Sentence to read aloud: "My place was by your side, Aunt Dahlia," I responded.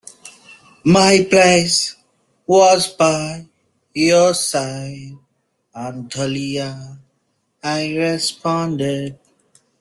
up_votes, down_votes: 2, 0